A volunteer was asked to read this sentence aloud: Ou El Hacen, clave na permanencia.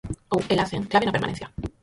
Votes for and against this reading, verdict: 0, 4, rejected